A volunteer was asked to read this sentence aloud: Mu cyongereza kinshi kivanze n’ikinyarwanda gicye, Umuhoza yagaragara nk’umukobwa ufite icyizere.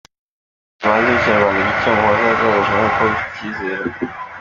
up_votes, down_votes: 0, 2